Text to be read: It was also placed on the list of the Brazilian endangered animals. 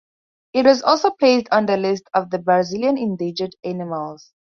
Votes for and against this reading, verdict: 4, 0, accepted